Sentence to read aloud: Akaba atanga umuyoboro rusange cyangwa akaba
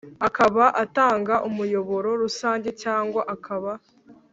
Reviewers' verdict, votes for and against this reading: accepted, 2, 0